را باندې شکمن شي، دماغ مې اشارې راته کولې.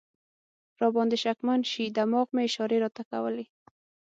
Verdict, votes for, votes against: rejected, 0, 6